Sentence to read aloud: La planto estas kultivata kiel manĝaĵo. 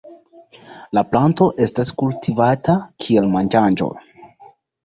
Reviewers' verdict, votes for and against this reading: rejected, 0, 2